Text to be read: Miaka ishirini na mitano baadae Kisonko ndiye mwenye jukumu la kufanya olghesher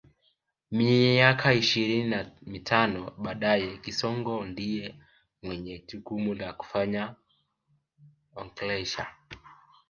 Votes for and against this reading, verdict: 1, 2, rejected